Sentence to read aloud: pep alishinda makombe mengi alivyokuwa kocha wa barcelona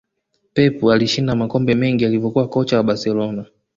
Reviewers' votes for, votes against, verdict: 0, 2, rejected